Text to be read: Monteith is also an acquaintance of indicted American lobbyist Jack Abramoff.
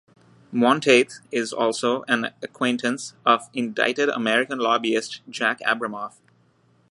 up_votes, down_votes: 2, 0